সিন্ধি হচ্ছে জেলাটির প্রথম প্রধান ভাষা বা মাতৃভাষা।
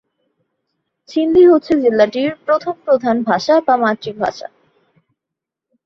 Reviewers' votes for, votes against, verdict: 4, 0, accepted